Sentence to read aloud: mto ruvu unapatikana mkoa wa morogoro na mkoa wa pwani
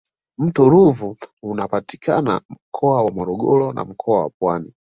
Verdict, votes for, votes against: accepted, 2, 0